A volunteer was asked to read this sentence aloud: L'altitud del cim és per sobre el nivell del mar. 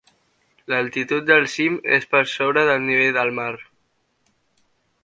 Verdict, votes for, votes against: rejected, 1, 2